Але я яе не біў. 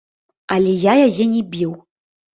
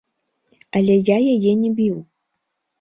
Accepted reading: second